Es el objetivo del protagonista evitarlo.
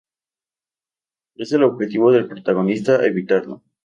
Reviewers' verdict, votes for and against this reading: accepted, 2, 0